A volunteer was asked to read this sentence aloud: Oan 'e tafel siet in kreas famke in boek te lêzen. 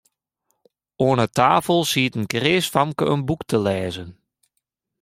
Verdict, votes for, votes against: accepted, 2, 1